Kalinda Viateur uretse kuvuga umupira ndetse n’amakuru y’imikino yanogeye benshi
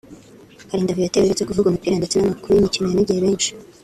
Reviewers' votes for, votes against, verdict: 1, 2, rejected